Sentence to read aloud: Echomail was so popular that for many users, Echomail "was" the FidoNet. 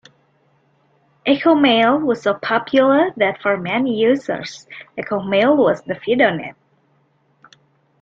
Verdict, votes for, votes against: accepted, 2, 0